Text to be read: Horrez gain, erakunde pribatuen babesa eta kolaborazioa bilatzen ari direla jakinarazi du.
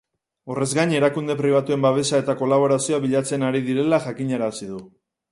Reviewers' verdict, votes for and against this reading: accepted, 2, 0